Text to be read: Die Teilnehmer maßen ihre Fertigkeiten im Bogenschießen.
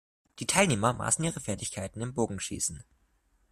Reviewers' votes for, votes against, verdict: 0, 2, rejected